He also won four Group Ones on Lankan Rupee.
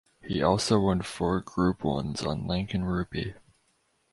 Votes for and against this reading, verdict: 4, 2, accepted